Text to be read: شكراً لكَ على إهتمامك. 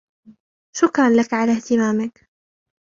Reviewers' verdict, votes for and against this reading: accepted, 3, 0